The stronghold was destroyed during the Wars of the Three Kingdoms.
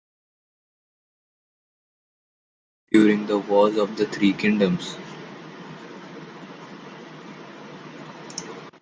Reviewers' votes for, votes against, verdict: 0, 2, rejected